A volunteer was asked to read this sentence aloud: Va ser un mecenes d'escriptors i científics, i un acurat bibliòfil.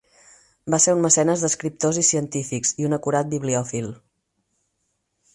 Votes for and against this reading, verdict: 8, 0, accepted